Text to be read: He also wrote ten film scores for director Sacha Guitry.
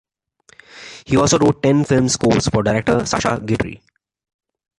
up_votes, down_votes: 3, 2